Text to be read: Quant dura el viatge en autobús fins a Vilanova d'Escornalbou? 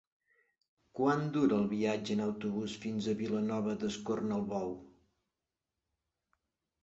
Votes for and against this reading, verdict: 3, 0, accepted